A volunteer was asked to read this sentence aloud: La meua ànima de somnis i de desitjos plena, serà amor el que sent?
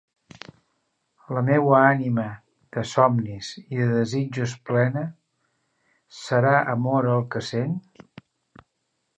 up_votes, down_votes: 2, 0